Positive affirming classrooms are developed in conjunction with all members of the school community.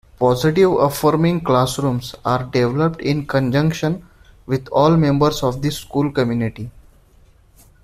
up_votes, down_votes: 1, 4